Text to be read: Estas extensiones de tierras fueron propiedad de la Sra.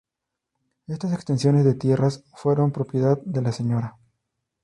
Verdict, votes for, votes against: accepted, 2, 0